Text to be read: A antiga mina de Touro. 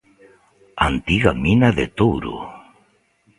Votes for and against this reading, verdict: 2, 0, accepted